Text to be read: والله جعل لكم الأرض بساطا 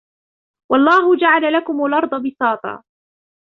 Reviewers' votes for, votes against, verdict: 1, 2, rejected